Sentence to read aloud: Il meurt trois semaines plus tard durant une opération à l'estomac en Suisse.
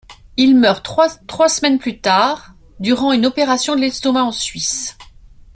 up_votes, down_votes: 0, 2